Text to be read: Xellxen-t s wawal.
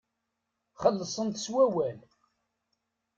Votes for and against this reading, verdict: 0, 2, rejected